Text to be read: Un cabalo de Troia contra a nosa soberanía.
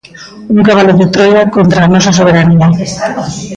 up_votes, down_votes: 0, 2